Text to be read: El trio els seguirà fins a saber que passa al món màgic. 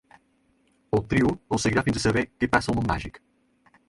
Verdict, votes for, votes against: accepted, 4, 0